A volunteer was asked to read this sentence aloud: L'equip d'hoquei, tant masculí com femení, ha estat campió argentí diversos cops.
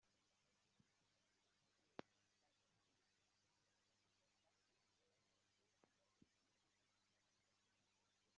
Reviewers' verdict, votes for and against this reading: rejected, 0, 2